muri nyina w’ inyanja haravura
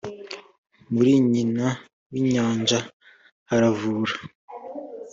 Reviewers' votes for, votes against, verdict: 3, 0, accepted